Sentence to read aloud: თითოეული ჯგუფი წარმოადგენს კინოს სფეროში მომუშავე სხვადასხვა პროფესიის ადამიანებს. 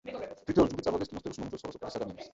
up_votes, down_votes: 0, 2